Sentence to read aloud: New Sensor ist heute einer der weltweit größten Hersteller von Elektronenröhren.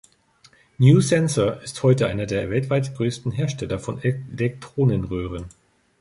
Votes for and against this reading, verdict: 1, 3, rejected